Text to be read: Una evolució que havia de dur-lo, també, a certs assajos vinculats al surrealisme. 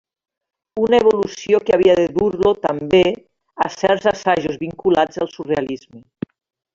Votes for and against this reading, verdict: 1, 2, rejected